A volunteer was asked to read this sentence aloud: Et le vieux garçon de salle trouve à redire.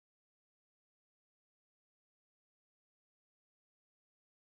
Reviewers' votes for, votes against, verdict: 0, 2, rejected